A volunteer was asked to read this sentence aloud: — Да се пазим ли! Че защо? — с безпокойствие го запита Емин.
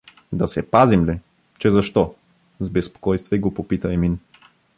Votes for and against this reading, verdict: 0, 2, rejected